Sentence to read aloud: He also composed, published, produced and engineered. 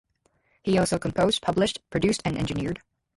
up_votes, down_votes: 0, 4